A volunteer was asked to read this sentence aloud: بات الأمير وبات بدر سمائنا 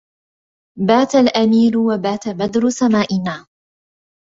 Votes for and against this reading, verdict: 2, 0, accepted